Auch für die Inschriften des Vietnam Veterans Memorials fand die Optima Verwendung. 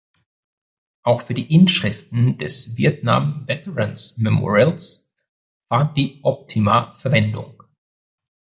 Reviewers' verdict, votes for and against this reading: accepted, 2, 0